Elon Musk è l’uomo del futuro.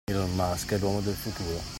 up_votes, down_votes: 2, 0